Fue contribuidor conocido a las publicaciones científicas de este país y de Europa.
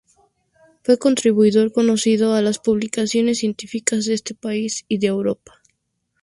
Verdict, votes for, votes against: accepted, 2, 0